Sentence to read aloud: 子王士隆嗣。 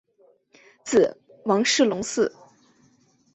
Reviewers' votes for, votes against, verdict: 7, 0, accepted